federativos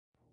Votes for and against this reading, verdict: 0, 2, rejected